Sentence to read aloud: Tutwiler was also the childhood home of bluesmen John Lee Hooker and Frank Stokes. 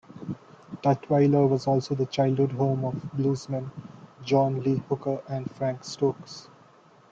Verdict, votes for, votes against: rejected, 1, 3